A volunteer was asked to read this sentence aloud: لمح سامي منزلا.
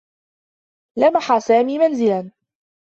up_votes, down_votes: 0, 2